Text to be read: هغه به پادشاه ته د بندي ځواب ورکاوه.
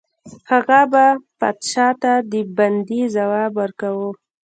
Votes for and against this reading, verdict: 0, 2, rejected